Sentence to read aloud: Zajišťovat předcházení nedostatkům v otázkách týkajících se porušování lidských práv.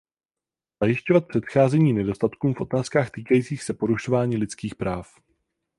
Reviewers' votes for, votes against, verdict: 0, 4, rejected